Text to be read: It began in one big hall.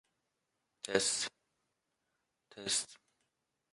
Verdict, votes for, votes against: rejected, 0, 2